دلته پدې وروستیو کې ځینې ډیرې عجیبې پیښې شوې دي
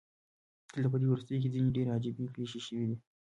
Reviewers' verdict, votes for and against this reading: rejected, 1, 2